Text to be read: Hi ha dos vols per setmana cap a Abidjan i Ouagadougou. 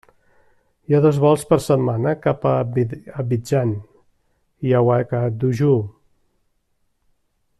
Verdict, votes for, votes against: rejected, 0, 2